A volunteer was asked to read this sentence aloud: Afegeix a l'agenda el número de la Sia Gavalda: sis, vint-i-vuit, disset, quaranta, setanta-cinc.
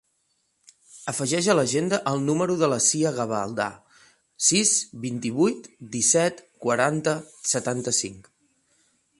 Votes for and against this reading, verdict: 3, 1, accepted